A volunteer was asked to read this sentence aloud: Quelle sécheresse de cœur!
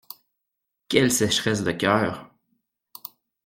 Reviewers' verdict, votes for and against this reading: accepted, 2, 0